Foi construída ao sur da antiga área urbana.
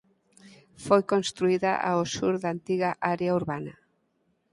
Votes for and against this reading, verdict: 4, 0, accepted